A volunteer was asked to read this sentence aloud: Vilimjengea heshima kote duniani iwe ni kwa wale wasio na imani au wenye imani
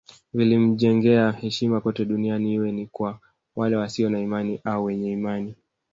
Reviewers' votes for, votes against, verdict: 2, 1, accepted